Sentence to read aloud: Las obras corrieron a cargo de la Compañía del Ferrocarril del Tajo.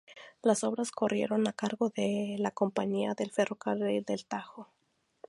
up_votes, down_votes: 4, 0